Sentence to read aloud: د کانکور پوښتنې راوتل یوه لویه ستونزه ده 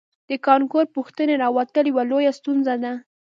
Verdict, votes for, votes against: accepted, 2, 1